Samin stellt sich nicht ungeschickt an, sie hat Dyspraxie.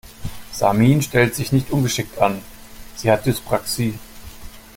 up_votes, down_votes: 2, 0